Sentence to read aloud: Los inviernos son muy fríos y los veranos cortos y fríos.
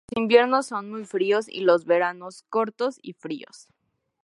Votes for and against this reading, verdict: 0, 2, rejected